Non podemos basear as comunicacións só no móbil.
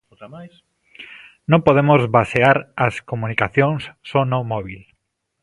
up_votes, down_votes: 1, 2